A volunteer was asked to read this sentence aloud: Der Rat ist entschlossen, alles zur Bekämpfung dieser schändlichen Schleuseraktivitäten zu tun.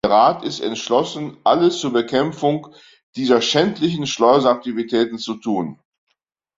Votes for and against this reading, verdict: 1, 2, rejected